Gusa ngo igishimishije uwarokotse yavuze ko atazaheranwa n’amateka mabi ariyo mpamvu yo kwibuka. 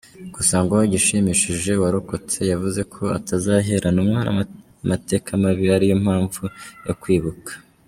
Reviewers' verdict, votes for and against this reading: rejected, 2, 3